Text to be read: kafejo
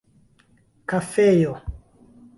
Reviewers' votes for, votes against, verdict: 0, 2, rejected